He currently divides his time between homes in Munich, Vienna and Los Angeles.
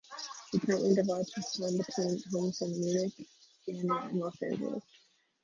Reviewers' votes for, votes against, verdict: 0, 2, rejected